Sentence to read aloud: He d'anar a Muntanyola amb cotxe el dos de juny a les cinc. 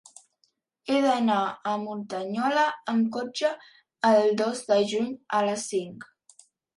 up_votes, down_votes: 5, 0